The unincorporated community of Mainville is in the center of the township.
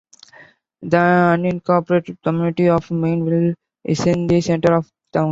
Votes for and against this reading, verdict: 1, 2, rejected